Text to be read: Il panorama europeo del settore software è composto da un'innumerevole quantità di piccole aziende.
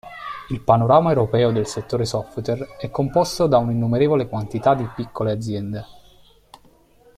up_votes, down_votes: 2, 1